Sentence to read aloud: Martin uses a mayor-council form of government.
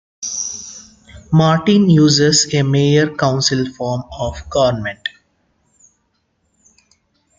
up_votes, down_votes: 2, 1